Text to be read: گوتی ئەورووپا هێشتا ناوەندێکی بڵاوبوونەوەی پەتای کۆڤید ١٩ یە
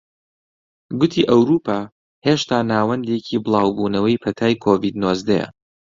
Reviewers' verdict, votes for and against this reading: rejected, 0, 2